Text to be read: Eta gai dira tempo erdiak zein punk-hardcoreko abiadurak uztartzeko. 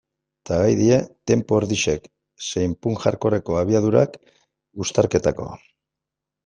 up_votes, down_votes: 0, 2